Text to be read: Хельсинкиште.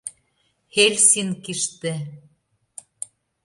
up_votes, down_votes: 2, 0